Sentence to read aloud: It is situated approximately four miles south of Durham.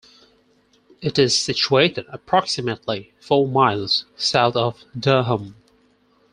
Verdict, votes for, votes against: accepted, 4, 0